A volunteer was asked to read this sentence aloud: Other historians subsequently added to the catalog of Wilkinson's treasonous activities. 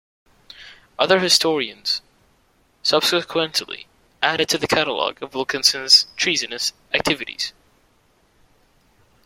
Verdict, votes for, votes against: accepted, 2, 0